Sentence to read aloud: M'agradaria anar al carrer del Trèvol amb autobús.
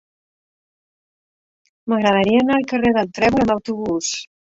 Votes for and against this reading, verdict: 1, 3, rejected